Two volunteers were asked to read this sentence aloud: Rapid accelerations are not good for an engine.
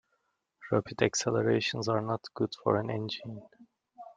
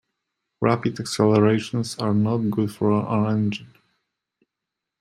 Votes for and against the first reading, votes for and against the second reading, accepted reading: 2, 0, 1, 2, first